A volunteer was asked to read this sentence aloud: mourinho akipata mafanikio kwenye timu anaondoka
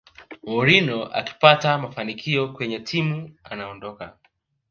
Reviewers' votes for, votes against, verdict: 2, 1, accepted